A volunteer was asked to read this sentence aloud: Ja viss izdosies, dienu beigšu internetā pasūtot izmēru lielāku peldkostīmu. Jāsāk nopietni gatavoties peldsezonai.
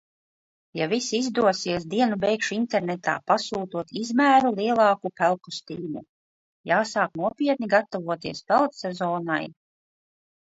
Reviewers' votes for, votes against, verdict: 2, 0, accepted